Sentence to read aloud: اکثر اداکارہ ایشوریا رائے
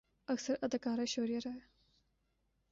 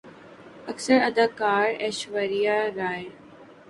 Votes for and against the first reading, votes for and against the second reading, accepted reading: 2, 0, 3, 4, first